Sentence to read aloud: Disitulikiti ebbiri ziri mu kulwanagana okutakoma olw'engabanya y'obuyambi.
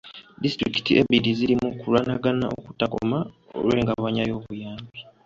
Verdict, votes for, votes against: accepted, 2, 0